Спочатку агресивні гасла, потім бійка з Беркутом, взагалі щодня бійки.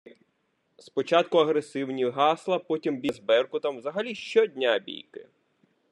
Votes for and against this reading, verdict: 0, 2, rejected